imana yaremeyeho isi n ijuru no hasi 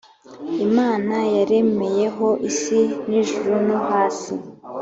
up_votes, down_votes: 3, 0